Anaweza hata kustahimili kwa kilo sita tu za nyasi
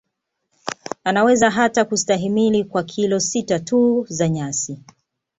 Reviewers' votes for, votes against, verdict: 2, 0, accepted